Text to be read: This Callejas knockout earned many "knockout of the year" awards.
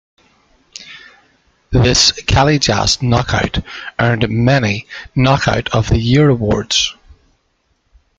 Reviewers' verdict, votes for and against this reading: accepted, 2, 1